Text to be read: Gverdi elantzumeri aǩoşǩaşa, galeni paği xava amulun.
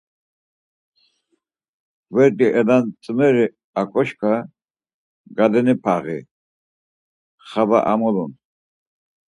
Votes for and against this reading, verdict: 2, 4, rejected